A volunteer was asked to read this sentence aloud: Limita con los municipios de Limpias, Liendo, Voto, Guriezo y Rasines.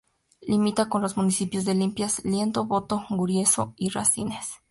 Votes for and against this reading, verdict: 0, 2, rejected